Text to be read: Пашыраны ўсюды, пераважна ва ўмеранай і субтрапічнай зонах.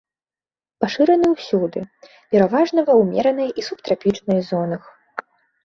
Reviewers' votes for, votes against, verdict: 3, 0, accepted